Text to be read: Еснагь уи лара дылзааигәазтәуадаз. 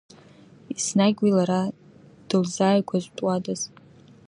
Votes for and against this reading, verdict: 2, 0, accepted